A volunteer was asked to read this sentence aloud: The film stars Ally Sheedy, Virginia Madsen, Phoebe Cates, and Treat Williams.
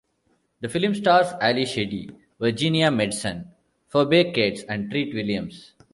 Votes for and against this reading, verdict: 1, 2, rejected